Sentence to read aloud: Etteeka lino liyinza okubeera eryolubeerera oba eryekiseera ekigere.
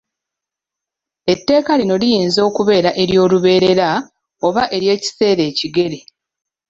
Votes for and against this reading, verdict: 2, 0, accepted